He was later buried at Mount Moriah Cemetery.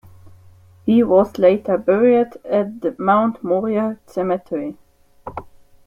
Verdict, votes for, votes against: rejected, 0, 2